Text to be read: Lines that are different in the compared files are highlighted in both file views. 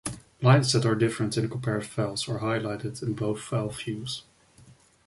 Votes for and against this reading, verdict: 1, 2, rejected